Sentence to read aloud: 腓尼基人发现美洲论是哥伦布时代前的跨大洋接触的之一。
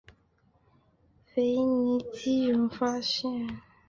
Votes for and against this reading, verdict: 0, 3, rejected